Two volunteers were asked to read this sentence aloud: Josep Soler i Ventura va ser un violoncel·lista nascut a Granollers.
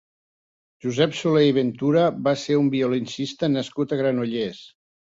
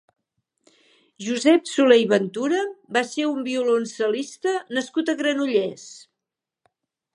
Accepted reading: second